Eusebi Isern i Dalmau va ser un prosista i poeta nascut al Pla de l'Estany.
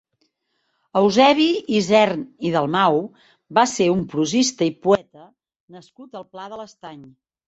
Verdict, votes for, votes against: rejected, 2, 3